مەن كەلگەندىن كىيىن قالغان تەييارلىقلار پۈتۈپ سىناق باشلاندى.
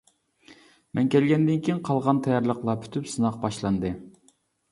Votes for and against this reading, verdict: 2, 0, accepted